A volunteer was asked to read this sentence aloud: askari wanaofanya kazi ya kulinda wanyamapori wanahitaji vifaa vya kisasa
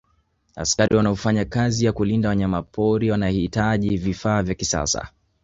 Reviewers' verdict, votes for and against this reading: accepted, 2, 0